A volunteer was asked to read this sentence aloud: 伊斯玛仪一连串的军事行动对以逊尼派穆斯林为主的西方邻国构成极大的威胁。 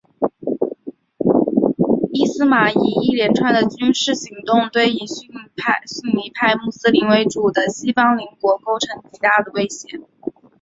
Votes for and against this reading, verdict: 4, 1, accepted